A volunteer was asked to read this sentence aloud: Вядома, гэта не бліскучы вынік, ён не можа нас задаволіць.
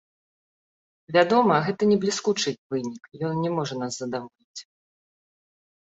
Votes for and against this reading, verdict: 1, 2, rejected